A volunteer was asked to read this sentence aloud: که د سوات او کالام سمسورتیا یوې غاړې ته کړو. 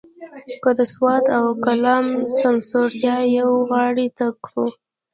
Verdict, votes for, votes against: rejected, 0, 2